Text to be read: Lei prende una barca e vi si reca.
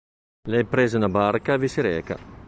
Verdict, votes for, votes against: rejected, 0, 2